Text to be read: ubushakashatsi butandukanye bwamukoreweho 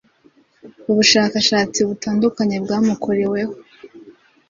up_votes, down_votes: 2, 0